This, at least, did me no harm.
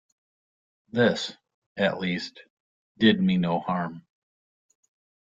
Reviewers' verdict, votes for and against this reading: accepted, 2, 0